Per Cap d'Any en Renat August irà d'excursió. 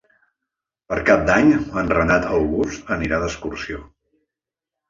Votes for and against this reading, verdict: 2, 3, rejected